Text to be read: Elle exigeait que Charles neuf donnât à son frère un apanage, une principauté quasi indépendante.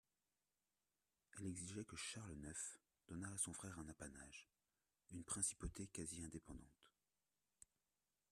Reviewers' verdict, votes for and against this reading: rejected, 1, 2